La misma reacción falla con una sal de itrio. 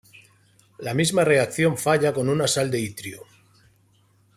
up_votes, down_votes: 2, 0